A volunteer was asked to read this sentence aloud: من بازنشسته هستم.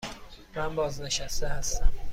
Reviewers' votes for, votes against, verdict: 2, 0, accepted